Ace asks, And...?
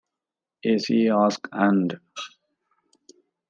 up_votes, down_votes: 2, 1